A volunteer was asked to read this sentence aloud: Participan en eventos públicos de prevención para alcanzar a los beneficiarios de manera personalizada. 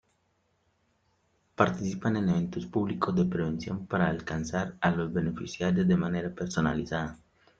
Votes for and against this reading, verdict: 2, 0, accepted